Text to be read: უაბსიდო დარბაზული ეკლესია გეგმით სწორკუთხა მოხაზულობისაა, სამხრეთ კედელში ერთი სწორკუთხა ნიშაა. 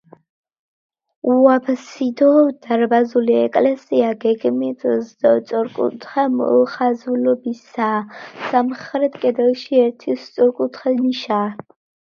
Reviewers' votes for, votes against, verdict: 1, 2, rejected